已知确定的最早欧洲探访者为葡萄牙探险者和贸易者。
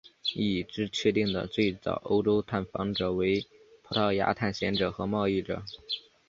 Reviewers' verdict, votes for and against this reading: accepted, 2, 0